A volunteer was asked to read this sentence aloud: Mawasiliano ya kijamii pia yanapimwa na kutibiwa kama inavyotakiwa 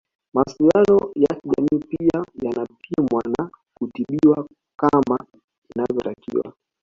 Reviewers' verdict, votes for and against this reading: rejected, 0, 2